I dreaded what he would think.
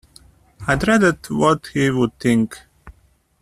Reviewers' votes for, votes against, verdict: 0, 2, rejected